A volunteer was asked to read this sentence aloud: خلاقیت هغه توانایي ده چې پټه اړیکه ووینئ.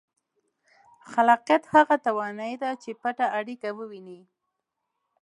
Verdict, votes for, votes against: rejected, 1, 2